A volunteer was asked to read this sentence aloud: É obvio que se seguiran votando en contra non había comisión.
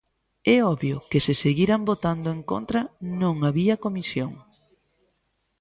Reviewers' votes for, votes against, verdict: 2, 0, accepted